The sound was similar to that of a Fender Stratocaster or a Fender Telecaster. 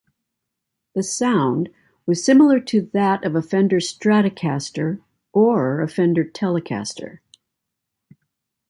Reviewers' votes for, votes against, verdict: 2, 0, accepted